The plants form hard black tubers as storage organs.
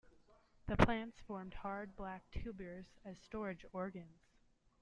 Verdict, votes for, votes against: accepted, 2, 0